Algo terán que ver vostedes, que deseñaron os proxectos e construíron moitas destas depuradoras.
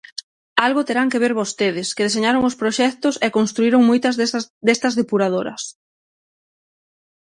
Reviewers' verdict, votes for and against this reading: rejected, 0, 6